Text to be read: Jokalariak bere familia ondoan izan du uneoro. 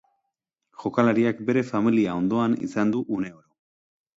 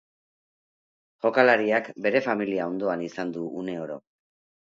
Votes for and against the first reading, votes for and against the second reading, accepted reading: 1, 2, 2, 0, second